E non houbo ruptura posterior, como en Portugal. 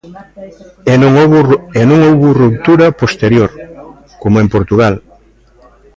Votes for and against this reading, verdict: 0, 2, rejected